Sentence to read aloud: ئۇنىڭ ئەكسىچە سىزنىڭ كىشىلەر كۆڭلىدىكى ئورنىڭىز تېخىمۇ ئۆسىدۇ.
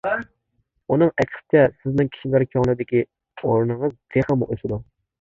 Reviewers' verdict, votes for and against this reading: rejected, 0, 2